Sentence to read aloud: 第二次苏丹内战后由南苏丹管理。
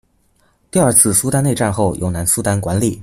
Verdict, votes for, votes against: accepted, 2, 0